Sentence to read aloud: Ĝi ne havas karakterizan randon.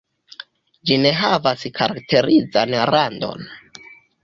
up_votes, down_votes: 1, 2